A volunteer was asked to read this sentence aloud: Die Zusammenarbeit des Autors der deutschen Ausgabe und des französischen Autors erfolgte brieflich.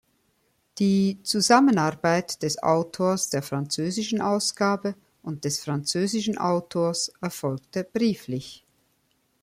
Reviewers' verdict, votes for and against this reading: rejected, 0, 2